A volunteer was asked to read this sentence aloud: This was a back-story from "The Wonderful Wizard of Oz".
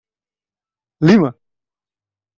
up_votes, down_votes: 0, 2